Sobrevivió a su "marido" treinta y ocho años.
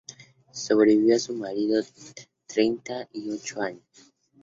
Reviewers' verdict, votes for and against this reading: accepted, 2, 0